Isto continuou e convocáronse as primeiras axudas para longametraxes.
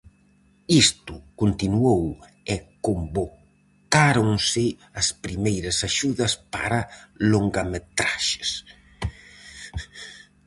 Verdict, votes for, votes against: rejected, 2, 2